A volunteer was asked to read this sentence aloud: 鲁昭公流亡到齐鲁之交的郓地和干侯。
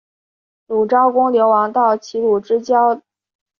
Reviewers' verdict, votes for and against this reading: rejected, 0, 4